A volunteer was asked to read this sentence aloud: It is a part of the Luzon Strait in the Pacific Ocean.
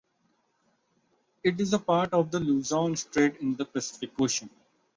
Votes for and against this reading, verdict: 2, 0, accepted